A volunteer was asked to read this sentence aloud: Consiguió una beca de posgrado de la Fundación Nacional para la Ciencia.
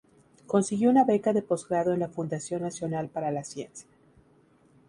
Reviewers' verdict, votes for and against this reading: rejected, 2, 2